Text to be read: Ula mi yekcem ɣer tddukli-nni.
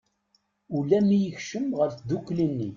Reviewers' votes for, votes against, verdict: 2, 0, accepted